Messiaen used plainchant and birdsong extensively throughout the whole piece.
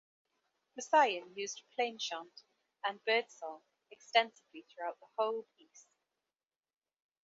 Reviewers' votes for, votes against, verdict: 3, 0, accepted